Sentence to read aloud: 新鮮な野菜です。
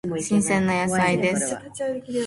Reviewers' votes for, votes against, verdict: 1, 2, rejected